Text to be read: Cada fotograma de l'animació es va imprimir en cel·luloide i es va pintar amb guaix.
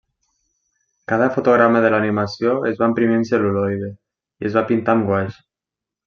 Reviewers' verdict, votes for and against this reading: accepted, 2, 0